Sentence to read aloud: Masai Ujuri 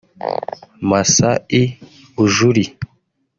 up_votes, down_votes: 2, 3